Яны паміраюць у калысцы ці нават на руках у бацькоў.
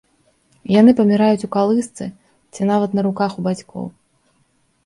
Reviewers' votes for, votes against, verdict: 3, 0, accepted